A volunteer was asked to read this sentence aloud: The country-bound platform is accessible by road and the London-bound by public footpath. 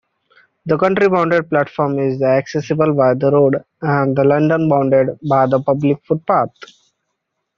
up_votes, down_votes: 0, 2